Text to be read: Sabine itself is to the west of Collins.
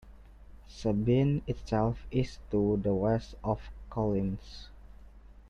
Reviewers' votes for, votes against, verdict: 2, 1, accepted